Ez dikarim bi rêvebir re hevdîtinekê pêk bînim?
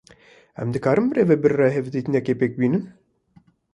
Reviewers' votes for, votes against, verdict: 1, 2, rejected